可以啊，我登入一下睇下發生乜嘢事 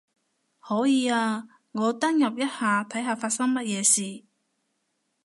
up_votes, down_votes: 2, 0